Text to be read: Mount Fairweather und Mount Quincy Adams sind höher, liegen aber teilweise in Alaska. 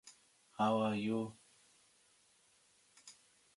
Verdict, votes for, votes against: rejected, 0, 2